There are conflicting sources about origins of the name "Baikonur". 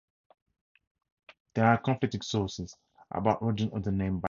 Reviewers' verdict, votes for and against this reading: rejected, 0, 4